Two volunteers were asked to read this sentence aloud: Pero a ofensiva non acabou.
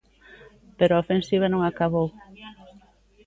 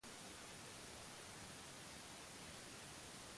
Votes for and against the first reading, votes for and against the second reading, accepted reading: 2, 0, 1, 2, first